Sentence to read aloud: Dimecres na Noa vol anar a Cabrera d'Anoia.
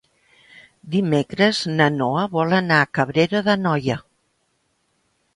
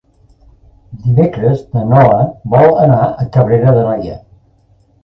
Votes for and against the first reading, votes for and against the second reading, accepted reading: 3, 0, 0, 3, first